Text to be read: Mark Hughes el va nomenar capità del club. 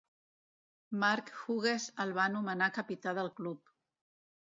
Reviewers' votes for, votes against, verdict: 0, 2, rejected